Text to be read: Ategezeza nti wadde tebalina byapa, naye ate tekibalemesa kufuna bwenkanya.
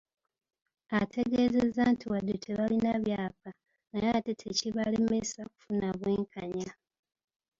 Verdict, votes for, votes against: accepted, 2, 0